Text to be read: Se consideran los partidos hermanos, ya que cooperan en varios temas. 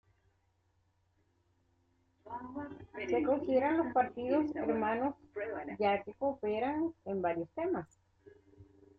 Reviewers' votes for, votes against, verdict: 0, 2, rejected